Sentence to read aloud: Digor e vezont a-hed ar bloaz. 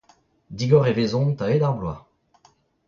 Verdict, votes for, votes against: rejected, 0, 2